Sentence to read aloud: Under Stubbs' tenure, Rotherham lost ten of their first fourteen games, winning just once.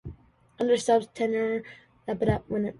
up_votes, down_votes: 0, 2